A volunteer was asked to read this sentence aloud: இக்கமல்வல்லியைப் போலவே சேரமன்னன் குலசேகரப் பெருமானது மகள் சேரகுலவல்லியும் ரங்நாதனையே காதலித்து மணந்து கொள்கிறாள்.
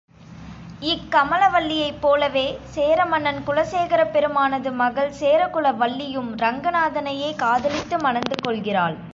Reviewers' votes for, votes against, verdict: 2, 0, accepted